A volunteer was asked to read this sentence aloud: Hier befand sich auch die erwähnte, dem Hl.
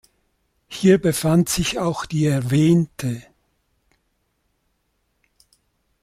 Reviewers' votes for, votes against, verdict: 0, 2, rejected